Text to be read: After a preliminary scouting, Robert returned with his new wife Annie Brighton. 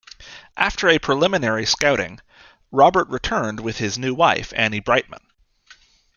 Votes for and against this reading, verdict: 0, 2, rejected